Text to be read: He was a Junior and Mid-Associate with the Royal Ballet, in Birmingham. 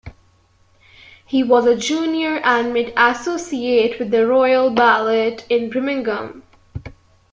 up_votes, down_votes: 1, 2